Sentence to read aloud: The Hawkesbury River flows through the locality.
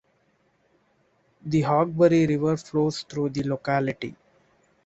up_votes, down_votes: 0, 2